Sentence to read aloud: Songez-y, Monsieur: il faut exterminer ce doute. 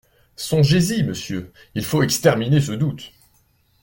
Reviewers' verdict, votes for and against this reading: accepted, 2, 0